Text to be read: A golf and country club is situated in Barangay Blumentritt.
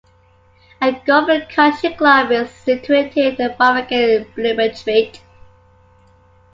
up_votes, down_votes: 0, 2